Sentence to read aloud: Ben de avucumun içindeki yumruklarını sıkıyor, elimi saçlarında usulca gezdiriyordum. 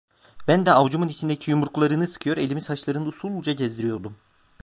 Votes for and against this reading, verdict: 2, 1, accepted